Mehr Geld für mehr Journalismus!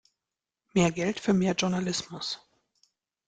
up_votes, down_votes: 2, 0